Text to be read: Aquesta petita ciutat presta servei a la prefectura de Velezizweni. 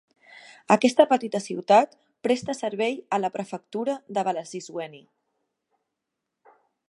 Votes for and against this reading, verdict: 2, 0, accepted